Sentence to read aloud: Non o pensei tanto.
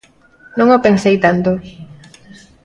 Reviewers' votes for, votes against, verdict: 2, 1, accepted